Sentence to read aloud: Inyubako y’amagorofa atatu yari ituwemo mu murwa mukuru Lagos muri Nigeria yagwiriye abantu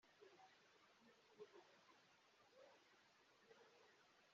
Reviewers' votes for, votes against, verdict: 0, 2, rejected